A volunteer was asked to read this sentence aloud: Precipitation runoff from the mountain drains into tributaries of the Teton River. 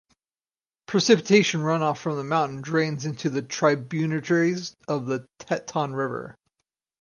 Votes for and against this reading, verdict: 0, 4, rejected